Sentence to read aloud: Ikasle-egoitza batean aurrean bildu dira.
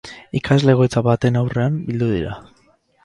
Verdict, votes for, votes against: rejected, 0, 4